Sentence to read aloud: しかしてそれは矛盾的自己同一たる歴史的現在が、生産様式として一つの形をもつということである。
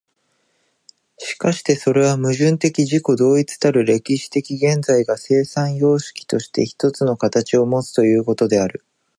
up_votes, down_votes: 2, 0